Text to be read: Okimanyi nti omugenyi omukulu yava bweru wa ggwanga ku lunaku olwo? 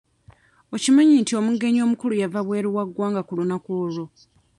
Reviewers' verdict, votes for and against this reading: rejected, 0, 2